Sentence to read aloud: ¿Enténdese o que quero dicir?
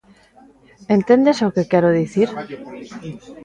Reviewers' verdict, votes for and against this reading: rejected, 1, 2